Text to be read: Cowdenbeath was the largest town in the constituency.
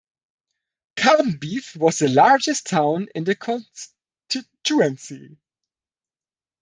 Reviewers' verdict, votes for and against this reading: rejected, 0, 2